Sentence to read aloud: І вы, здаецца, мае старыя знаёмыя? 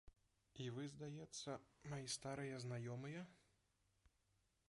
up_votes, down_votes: 0, 2